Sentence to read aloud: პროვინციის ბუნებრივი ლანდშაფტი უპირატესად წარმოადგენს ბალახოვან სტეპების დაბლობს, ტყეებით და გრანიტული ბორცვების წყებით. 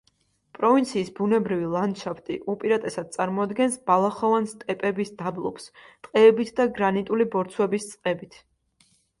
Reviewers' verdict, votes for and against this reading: accepted, 2, 0